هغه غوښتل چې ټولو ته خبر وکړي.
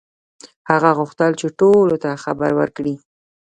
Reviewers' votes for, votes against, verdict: 1, 2, rejected